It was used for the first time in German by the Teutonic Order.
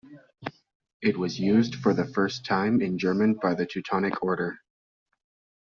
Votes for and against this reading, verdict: 3, 0, accepted